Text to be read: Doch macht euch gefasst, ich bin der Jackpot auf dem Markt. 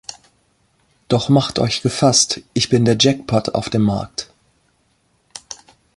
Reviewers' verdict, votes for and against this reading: accepted, 2, 0